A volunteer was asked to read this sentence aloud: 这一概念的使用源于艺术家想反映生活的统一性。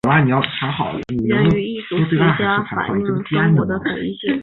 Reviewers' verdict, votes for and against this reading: rejected, 0, 2